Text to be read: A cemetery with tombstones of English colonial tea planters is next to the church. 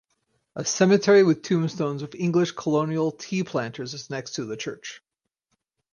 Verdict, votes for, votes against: accepted, 4, 0